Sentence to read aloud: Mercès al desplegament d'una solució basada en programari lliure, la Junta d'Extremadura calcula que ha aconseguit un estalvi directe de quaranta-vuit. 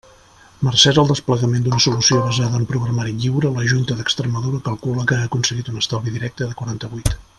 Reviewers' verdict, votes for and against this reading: accepted, 2, 0